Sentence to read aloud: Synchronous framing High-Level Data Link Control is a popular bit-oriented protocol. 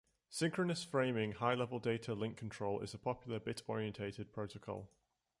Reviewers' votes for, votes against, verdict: 1, 2, rejected